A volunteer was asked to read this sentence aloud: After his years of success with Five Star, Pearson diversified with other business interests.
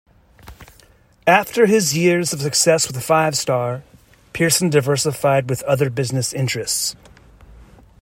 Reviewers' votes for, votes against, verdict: 1, 2, rejected